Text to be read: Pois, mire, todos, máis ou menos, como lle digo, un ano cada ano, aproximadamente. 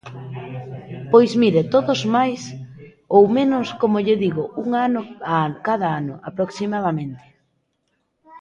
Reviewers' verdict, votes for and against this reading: rejected, 0, 2